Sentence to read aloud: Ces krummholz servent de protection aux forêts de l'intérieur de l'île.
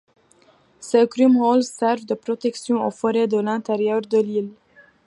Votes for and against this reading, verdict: 2, 1, accepted